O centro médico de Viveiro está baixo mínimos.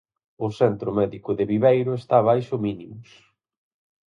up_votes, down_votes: 4, 0